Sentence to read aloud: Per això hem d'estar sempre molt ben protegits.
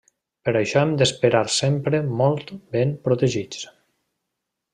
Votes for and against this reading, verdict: 0, 2, rejected